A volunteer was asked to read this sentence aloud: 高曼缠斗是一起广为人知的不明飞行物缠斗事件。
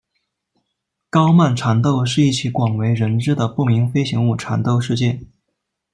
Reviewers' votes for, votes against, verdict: 0, 2, rejected